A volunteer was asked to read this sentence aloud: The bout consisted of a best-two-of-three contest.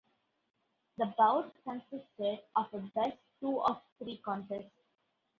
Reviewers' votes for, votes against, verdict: 2, 0, accepted